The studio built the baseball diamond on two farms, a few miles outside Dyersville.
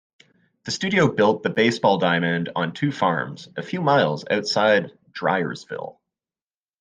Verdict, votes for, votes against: rejected, 1, 2